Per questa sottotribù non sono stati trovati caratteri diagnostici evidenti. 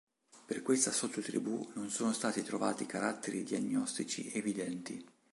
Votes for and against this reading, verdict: 2, 0, accepted